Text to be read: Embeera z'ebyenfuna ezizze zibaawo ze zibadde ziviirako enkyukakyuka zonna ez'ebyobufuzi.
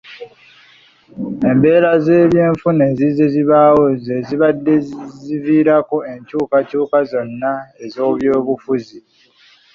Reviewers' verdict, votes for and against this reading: accepted, 3, 0